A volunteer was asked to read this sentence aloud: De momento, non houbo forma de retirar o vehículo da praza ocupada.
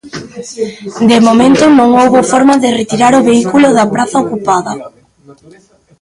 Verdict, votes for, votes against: accepted, 2, 0